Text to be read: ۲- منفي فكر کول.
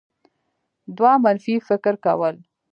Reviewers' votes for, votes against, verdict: 0, 2, rejected